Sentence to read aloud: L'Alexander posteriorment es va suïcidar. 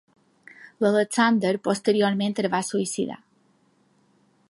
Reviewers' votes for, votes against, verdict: 2, 0, accepted